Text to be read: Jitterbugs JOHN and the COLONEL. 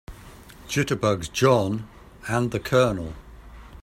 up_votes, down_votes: 2, 0